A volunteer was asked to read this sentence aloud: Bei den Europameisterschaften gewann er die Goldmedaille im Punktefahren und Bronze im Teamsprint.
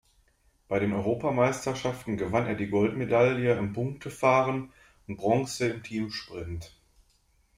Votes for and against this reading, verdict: 2, 1, accepted